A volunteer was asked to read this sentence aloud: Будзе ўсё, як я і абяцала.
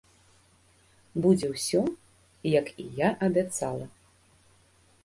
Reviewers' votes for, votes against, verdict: 1, 2, rejected